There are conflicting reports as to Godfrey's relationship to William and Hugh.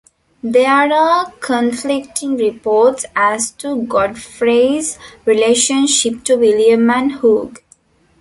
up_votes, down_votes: 0, 2